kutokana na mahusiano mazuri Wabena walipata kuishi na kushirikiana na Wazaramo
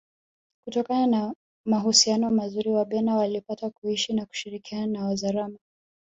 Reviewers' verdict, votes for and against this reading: accepted, 2, 0